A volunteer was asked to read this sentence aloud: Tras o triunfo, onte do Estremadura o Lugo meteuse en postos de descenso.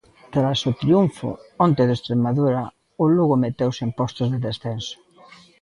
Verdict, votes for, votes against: accepted, 2, 0